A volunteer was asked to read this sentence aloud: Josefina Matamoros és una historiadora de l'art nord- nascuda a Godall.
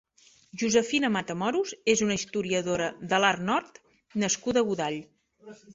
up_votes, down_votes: 2, 1